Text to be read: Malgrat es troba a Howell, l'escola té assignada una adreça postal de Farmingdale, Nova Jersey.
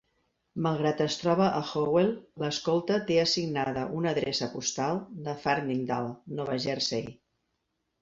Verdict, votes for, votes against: rejected, 1, 2